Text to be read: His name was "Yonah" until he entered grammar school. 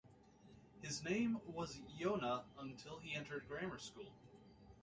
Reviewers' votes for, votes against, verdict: 2, 0, accepted